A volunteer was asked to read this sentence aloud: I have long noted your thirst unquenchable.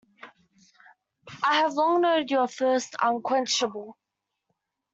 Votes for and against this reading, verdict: 1, 2, rejected